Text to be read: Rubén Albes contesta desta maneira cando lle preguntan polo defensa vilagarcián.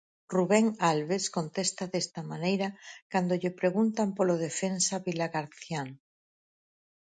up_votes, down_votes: 4, 0